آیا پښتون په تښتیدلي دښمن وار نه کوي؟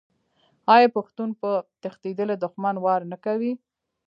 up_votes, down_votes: 0, 2